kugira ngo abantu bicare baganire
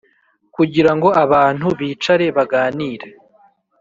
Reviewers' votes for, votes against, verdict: 4, 0, accepted